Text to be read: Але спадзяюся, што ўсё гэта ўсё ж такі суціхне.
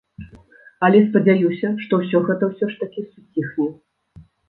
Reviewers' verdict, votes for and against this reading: rejected, 1, 2